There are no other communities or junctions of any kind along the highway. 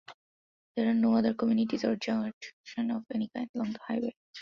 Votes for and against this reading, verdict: 0, 2, rejected